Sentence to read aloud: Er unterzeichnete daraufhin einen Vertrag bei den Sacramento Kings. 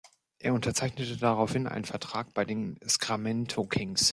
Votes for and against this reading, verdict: 0, 2, rejected